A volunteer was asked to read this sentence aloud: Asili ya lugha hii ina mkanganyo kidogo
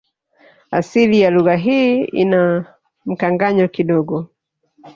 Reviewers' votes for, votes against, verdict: 1, 2, rejected